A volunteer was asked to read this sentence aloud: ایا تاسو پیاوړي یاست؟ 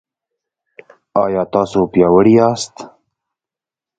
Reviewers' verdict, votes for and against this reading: accepted, 2, 0